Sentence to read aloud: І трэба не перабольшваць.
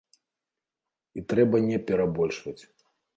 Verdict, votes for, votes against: accepted, 2, 0